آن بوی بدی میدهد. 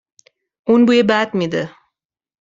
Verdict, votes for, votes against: rejected, 0, 2